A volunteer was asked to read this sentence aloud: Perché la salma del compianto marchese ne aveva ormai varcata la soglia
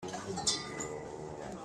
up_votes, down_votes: 0, 2